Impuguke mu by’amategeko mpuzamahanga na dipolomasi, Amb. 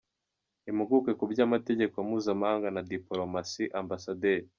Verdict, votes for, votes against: rejected, 1, 2